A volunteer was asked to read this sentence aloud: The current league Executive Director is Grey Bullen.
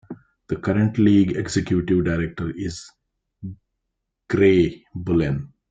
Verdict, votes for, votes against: accepted, 2, 1